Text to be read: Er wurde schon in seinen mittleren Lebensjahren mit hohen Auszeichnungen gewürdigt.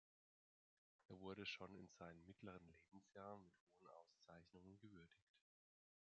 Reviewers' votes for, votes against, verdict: 0, 2, rejected